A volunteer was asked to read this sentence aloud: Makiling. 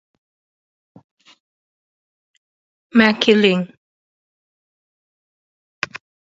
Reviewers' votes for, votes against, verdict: 2, 0, accepted